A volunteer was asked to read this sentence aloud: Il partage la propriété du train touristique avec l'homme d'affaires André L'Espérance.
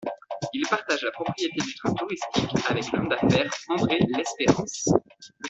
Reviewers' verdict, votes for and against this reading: rejected, 1, 2